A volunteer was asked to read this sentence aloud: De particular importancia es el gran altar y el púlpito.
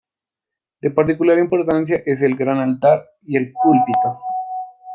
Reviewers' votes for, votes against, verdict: 2, 0, accepted